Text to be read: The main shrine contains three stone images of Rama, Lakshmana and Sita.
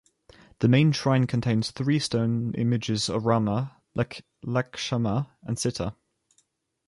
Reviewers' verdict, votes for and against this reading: accepted, 2, 1